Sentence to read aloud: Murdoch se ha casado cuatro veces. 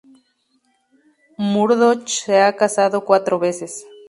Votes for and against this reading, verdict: 0, 2, rejected